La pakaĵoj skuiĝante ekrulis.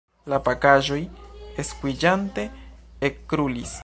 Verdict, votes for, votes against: rejected, 1, 2